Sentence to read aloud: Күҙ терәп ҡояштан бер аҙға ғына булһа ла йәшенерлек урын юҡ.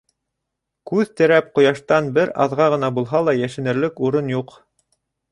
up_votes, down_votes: 2, 0